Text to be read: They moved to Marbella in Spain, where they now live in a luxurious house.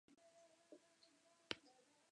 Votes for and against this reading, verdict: 0, 2, rejected